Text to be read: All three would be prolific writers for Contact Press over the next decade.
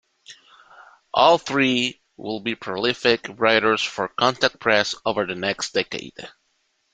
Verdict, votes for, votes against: rejected, 1, 2